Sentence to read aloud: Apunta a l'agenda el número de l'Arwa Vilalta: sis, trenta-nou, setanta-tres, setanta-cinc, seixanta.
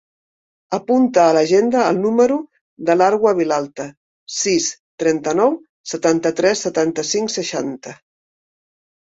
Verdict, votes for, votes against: accepted, 3, 0